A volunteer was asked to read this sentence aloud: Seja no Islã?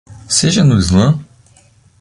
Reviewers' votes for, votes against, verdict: 2, 0, accepted